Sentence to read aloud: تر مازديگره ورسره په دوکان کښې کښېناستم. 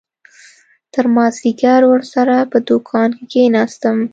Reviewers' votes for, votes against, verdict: 0, 2, rejected